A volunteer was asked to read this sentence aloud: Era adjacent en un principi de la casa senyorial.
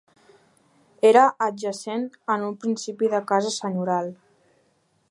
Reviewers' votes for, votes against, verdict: 2, 1, accepted